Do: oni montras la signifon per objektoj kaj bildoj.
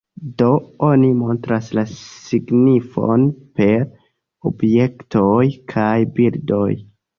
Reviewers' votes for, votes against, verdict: 1, 2, rejected